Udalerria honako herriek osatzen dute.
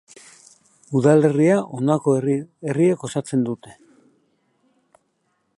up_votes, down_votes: 0, 4